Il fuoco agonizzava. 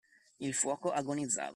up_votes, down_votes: 0, 2